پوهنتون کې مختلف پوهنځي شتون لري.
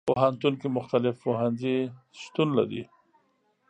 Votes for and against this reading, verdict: 2, 0, accepted